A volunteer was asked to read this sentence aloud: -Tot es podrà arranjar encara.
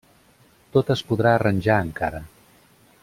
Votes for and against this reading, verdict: 2, 0, accepted